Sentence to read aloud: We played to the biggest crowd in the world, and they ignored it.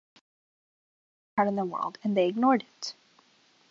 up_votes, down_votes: 0, 2